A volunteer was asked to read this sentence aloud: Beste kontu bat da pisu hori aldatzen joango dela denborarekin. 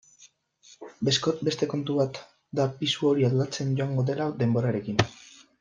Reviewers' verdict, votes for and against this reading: rejected, 0, 2